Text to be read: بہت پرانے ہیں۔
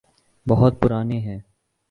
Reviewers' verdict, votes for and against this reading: accepted, 6, 1